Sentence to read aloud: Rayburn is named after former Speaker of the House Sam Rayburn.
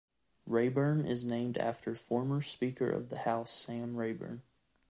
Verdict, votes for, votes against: accepted, 2, 0